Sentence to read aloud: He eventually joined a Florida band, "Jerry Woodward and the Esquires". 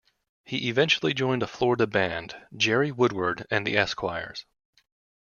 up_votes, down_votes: 2, 0